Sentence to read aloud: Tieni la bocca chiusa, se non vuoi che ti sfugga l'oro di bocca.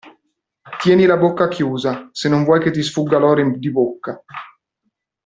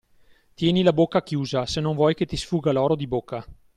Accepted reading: second